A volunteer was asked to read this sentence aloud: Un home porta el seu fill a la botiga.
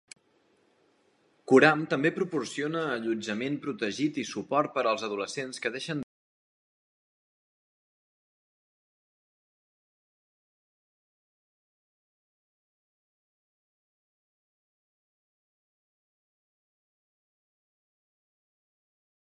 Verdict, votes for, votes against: rejected, 0, 2